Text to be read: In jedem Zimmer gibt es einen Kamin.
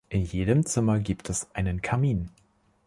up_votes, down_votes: 2, 0